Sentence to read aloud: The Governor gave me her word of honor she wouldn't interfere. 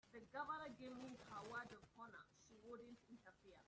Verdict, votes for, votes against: rejected, 0, 3